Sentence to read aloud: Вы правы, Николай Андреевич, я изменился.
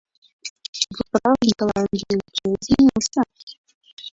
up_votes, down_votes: 0, 2